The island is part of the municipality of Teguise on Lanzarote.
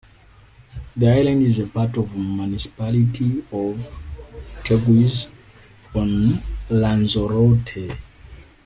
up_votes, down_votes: 2, 1